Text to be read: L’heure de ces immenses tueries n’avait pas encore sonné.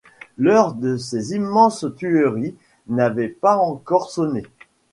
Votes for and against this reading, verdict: 2, 1, accepted